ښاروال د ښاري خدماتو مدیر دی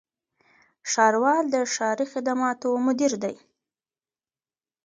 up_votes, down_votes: 1, 2